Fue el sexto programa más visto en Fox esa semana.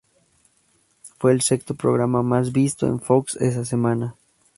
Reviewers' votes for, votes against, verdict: 4, 2, accepted